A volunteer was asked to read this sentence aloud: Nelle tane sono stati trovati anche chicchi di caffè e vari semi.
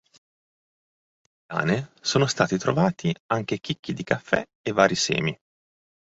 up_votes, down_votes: 0, 2